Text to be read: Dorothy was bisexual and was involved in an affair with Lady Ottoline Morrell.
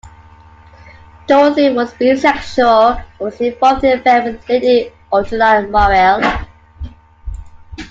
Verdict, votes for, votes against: accepted, 2, 1